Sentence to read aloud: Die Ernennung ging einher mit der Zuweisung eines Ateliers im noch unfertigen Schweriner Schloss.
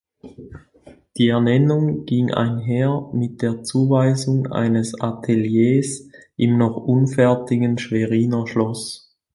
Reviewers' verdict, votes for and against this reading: accepted, 2, 0